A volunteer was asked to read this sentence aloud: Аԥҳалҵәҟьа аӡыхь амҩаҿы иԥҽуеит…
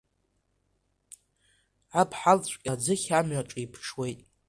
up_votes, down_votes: 1, 2